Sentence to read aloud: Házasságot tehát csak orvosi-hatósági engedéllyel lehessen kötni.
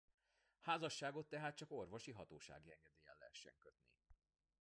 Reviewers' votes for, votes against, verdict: 2, 0, accepted